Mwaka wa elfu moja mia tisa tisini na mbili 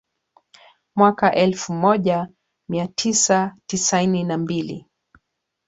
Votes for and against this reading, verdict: 2, 3, rejected